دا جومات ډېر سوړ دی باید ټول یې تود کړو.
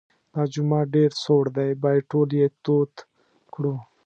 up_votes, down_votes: 2, 0